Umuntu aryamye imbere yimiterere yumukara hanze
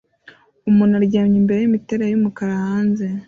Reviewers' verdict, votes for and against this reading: accepted, 2, 0